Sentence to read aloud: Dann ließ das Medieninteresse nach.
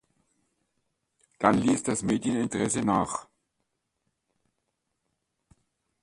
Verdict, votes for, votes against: accepted, 2, 1